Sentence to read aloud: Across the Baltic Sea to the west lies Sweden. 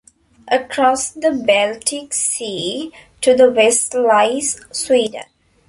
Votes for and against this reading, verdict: 0, 2, rejected